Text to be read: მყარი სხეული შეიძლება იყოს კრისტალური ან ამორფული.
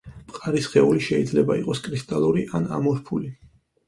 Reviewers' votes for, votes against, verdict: 4, 0, accepted